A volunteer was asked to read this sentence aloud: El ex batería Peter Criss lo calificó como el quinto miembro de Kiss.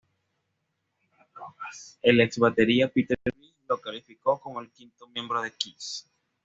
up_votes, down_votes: 1, 2